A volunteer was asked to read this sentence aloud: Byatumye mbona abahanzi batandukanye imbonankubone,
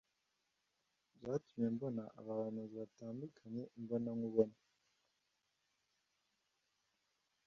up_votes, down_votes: 2, 0